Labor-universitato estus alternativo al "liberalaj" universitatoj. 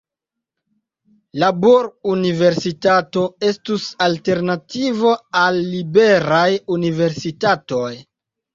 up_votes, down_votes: 1, 3